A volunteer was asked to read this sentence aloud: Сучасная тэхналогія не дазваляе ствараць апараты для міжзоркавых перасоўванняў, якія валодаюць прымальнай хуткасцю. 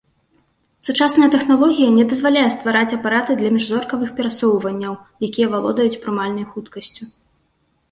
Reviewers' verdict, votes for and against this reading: accepted, 2, 0